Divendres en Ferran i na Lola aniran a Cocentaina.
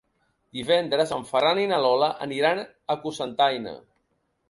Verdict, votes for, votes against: accepted, 3, 0